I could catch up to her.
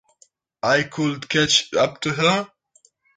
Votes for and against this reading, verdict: 2, 0, accepted